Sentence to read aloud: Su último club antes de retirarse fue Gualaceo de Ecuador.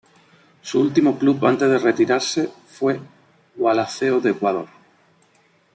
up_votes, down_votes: 3, 1